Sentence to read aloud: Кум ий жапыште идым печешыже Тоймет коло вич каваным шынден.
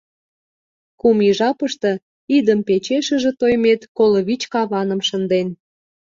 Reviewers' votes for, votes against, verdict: 2, 0, accepted